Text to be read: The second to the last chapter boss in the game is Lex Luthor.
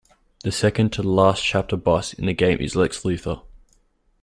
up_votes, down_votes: 2, 0